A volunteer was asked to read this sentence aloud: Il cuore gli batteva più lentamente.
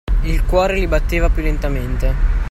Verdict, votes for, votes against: accepted, 2, 0